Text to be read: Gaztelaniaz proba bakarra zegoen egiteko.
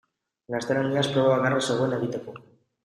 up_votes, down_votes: 4, 0